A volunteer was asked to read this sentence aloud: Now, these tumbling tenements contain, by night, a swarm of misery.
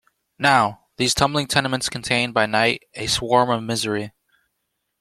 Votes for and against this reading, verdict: 2, 0, accepted